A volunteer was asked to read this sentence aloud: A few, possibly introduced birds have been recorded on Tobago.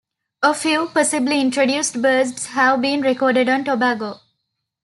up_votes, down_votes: 2, 1